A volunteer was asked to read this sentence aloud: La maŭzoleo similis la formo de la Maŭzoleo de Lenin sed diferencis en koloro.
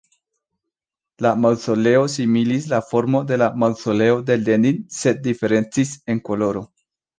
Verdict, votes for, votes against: accepted, 3, 0